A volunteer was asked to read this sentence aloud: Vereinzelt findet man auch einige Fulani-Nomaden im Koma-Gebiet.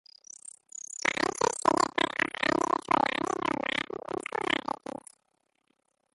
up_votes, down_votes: 0, 3